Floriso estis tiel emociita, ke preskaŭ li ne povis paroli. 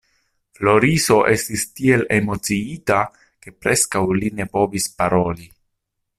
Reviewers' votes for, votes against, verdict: 2, 0, accepted